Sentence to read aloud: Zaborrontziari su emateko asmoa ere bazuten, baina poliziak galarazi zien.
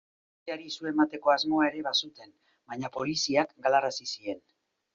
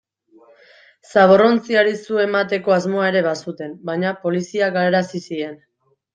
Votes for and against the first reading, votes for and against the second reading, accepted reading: 0, 2, 2, 0, second